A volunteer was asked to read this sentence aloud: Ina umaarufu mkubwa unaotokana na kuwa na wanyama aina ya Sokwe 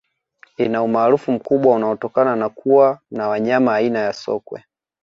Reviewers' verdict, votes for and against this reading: accepted, 2, 0